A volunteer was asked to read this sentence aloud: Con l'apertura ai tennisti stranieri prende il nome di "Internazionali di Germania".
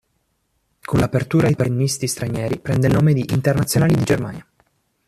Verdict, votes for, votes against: accepted, 2, 1